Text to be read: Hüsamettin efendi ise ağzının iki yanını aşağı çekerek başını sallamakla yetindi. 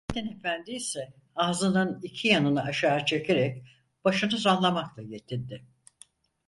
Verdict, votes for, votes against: rejected, 0, 4